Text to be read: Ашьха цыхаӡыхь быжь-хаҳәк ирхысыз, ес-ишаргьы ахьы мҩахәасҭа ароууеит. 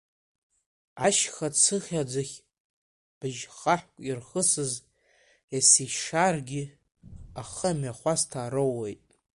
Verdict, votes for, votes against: rejected, 1, 2